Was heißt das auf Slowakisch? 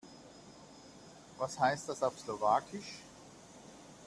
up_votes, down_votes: 2, 0